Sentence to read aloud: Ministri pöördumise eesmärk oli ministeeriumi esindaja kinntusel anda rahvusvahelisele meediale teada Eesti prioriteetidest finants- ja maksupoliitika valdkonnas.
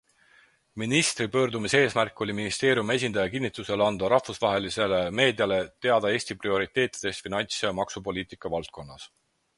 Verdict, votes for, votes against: accepted, 4, 0